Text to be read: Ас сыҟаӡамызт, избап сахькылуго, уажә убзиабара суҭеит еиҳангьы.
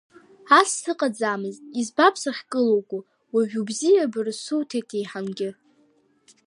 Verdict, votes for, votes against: accepted, 2, 0